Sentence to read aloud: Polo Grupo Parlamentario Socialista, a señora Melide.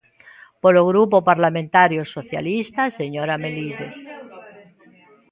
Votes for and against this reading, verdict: 1, 2, rejected